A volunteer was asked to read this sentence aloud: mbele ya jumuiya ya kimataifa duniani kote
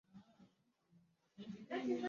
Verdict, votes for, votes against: rejected, 0, 2